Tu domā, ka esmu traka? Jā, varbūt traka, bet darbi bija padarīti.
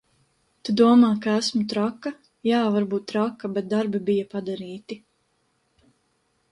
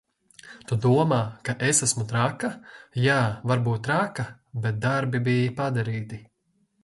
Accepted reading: first